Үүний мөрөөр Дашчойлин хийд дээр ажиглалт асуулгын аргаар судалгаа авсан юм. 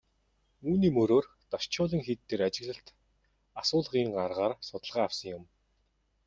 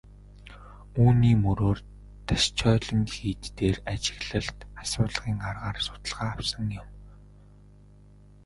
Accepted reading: first